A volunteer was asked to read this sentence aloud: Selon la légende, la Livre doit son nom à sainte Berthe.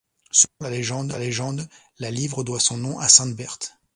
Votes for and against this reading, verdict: 0, 2, rejected